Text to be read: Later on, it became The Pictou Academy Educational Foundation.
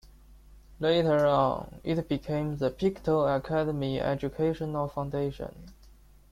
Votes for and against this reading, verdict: 2, 1, accepted